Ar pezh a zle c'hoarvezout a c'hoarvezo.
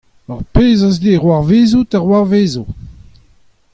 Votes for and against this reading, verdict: 2, 0, accepted